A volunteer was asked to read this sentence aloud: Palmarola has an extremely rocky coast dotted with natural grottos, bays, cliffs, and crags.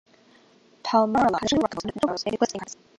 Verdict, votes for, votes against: rejected, 0, 2